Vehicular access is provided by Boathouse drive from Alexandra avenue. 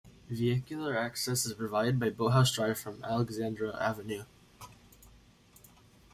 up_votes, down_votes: 1, 2